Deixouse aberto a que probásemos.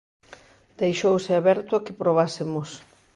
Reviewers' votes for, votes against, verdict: 2, 0, accepted